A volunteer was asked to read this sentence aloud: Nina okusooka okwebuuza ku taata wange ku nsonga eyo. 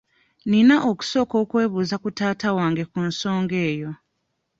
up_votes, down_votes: 2, 0